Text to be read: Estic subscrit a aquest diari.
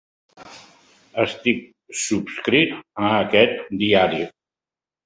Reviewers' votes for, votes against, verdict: 3, 0, accepted